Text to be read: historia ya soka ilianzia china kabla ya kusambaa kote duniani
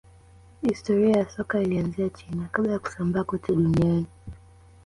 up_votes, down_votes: 2, 1